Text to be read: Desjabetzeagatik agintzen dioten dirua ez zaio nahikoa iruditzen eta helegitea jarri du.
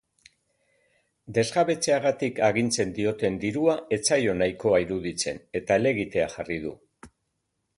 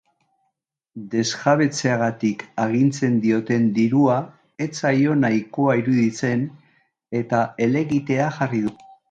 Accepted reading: first